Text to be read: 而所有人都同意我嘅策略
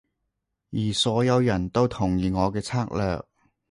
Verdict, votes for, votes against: accepted, 2, 0